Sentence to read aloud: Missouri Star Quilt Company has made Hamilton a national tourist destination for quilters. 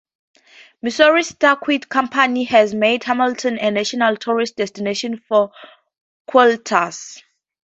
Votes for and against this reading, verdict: 4, 0, accepted